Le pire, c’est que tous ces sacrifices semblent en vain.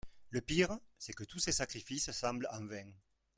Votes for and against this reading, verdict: 1, 2, rejected